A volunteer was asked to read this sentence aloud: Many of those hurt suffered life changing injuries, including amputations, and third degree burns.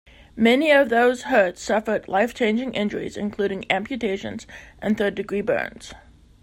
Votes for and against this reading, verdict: 2, 0, accepted